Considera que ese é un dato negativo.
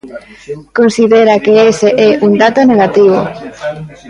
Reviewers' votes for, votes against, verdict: 2, 1, accepted